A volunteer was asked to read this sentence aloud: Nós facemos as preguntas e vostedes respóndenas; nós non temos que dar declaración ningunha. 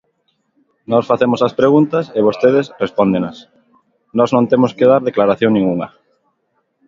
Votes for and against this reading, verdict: 2, 0, accepted